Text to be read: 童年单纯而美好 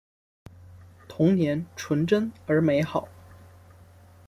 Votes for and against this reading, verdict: 0, 2, rejected